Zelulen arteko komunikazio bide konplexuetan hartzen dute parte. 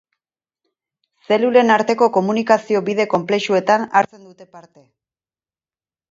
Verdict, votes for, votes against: rejected, 2, 4